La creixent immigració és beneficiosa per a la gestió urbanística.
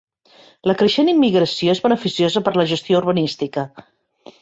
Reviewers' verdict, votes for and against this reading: accepted, 2, 0